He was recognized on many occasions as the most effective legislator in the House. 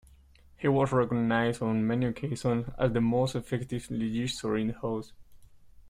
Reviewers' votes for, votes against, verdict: 1, 2, rejected